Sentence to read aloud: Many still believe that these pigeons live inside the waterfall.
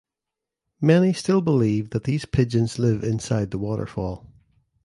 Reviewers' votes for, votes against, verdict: 2, 0, accepted